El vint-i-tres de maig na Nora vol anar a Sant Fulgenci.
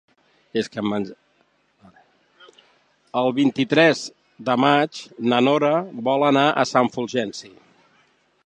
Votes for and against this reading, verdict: 0, 2, rejected